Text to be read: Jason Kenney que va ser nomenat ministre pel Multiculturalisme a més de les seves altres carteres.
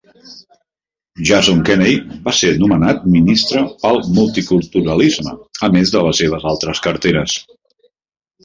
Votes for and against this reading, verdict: 1, 2, rejected